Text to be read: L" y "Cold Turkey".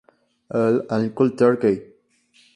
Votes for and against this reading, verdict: 0, 2, rejected